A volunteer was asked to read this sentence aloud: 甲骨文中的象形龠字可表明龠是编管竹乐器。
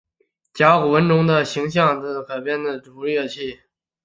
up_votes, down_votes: 1, 5